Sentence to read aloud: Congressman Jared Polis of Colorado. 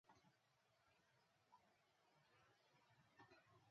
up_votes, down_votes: 1, 2